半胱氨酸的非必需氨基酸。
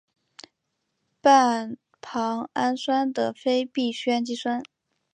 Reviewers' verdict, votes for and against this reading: rejected, 1, 2